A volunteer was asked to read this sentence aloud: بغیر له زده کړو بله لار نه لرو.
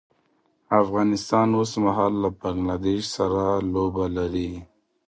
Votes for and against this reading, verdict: 0, 2, rejected